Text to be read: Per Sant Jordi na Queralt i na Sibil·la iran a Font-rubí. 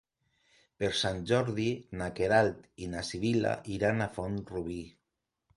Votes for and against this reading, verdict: 2, 0, accepted